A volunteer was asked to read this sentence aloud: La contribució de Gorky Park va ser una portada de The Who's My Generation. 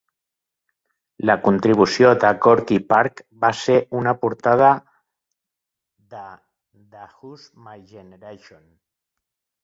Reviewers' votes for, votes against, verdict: 1, 2, rejected